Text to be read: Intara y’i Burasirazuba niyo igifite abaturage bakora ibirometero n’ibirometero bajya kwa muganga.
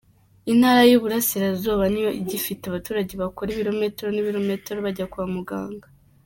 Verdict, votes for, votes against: accepted, 2, 0